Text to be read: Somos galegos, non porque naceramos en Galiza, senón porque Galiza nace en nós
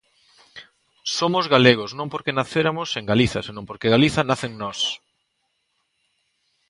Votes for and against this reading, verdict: 0, 2, rejected